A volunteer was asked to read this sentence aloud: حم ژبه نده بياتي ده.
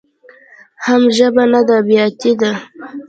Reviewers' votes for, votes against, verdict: 2, 0, accepted